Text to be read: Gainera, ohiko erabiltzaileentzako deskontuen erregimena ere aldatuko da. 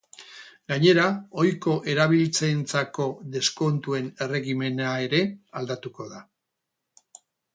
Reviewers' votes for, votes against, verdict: 2, 4, rejected